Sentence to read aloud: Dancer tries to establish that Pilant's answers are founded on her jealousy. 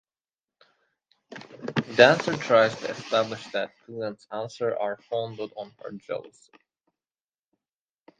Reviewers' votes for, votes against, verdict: 2, 0, accepted